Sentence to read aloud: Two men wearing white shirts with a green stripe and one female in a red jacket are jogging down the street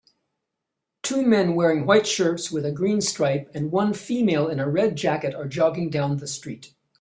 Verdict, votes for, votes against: accepted, 3, 0